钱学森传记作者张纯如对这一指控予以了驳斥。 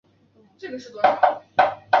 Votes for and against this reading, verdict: 1, 8, rejected